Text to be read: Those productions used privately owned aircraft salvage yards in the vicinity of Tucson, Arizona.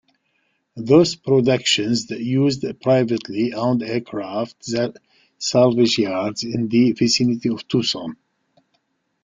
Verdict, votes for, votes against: rejected, 1, 2